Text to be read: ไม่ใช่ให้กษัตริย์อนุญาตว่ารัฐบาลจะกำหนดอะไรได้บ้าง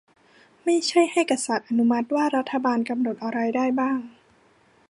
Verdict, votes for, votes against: accepted, 2, 1